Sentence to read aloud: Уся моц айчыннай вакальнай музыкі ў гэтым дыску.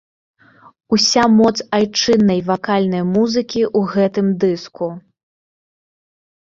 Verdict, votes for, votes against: rejected, 1, 2